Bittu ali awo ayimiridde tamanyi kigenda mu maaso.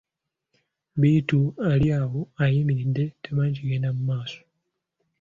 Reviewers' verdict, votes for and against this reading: accepted, 3, 0